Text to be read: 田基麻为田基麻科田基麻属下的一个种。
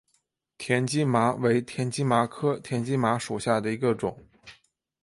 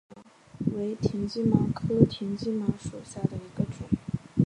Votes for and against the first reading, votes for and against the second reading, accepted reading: 2, 1, 1, 2, first